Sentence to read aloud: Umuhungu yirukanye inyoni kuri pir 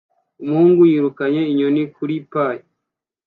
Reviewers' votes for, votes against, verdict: 2, 0, accepted